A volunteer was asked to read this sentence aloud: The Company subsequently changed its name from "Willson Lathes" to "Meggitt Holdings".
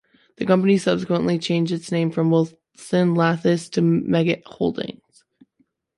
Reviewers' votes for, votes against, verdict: 1, 2, rejected